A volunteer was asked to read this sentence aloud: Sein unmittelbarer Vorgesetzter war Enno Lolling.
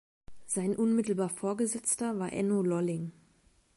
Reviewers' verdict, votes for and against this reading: rejected, 1, 2